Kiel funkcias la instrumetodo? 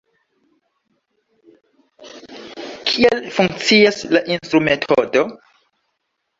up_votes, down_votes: 0, 2